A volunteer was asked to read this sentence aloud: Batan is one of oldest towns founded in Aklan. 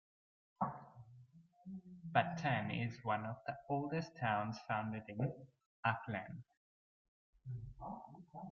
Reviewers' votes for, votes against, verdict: 0, 2, rejected